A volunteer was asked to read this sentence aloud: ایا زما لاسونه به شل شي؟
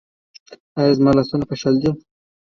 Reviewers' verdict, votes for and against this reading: rejected, 0, 2